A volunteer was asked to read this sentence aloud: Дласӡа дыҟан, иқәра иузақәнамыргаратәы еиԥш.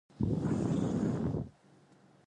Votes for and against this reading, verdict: 0, 2, rejected